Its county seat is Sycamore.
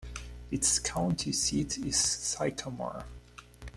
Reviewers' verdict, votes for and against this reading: accepted, 2, 1